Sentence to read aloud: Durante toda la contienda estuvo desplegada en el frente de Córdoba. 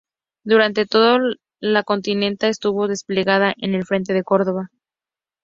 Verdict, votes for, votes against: rejected, 0, 2